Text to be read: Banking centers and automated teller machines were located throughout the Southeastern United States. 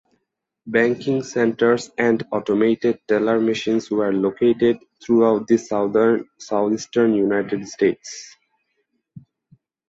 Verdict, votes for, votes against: rejected, 0, 2